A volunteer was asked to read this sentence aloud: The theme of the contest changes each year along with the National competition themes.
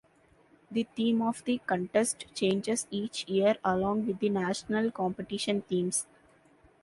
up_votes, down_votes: 2, 0